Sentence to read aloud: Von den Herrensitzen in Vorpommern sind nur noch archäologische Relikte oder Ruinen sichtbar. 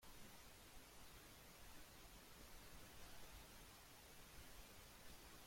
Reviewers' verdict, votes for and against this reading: rejected, 0, 2